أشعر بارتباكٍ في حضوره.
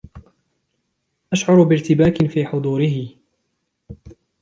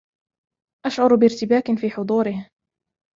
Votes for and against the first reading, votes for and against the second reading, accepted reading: 0, 2, 2, 0, second